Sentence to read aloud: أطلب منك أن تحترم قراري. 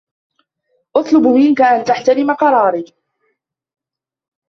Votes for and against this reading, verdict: 0, 2, rejected